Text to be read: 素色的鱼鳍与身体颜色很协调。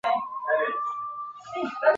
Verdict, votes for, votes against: rejected, 0, 2